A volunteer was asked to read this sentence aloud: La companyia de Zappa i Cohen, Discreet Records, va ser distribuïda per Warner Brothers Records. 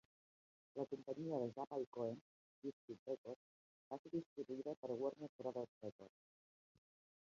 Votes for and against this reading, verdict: 1, 2, rejected